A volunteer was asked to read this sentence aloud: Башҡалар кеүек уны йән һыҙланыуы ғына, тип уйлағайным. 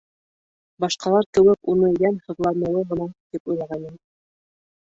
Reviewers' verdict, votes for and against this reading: rejected, 1, 3